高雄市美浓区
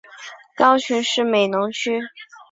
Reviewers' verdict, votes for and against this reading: accepted, 4, 0